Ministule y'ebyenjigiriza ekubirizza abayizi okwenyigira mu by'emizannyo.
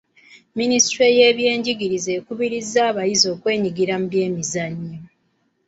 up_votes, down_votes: 2, 0